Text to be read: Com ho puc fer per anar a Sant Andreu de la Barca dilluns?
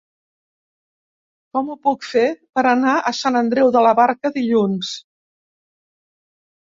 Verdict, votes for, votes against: accepted, 2, 0